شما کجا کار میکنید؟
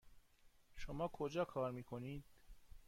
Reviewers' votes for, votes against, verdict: 2, 0, accepted